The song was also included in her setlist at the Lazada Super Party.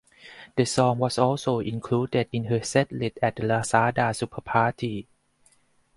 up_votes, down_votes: 4, 2